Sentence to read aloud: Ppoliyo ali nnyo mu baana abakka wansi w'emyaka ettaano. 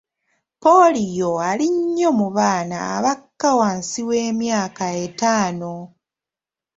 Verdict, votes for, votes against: accepted, 2, 0